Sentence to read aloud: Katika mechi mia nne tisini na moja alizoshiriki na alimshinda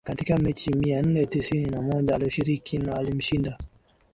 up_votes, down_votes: 2, 0